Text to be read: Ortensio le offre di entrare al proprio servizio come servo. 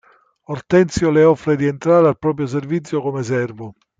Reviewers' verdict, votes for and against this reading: accepted, 2, 0